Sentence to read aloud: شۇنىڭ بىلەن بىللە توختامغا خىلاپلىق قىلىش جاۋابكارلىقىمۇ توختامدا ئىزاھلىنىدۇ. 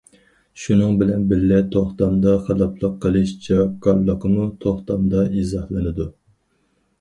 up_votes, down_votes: 0, 4